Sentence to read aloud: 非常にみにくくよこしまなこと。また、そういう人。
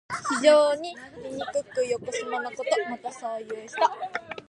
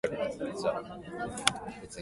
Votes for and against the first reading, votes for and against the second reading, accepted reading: 2, 0, 0, 2, first